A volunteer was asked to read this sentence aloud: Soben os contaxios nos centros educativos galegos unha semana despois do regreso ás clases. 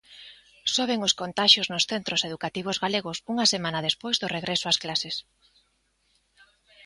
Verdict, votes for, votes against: accepted, 2, 0